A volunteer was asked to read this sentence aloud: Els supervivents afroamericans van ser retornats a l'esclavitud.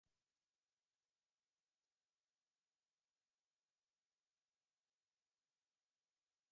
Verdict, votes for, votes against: rejected, 0, 2